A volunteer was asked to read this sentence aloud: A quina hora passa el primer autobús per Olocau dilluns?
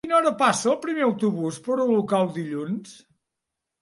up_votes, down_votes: 1, 2